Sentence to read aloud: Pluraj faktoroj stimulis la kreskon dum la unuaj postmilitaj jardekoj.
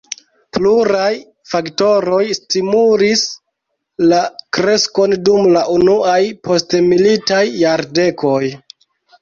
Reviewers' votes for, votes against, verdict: 2, 0, accepted